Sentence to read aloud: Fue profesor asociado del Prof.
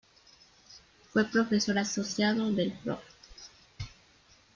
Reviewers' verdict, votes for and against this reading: rejected, 0, 2